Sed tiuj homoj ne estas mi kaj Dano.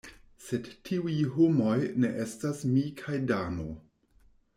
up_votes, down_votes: 2, 0